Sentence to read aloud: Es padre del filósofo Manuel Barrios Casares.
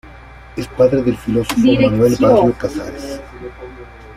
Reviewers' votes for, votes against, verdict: 1, 2, rejected